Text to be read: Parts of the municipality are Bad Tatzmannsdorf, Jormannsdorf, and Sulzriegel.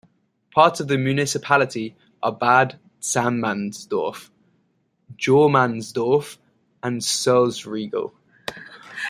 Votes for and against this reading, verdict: 2, 1, accepted